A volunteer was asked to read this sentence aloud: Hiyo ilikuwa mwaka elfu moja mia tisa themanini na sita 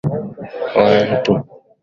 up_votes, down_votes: 0, 3